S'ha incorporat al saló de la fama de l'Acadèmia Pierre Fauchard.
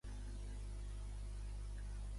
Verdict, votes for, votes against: rejected, 0, 2